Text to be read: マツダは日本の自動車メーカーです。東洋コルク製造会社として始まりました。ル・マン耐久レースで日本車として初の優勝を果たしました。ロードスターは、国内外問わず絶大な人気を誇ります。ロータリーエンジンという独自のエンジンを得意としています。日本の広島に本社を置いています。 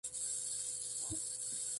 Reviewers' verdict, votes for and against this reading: rejected, 0, 2